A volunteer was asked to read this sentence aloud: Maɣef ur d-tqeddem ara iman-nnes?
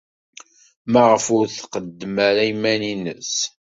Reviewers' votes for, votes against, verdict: 1, 2, rejected